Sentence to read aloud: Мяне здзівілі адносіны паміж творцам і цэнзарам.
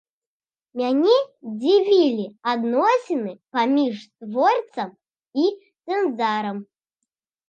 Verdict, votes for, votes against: rejected, 1, 2